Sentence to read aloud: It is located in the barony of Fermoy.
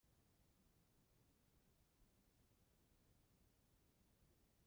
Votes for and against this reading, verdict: 0, 2, rejected